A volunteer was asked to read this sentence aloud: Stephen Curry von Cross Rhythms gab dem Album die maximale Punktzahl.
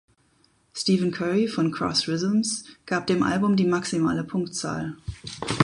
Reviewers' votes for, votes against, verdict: 2, 2, rejected